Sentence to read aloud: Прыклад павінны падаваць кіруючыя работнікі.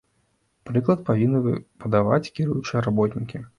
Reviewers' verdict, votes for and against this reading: rejected, 1, 2